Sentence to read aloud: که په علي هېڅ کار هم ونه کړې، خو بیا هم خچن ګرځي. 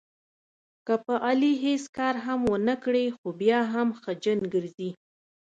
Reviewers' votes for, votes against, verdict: 2, 0, accepted